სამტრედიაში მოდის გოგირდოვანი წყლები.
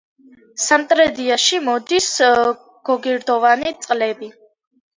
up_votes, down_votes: 2, 0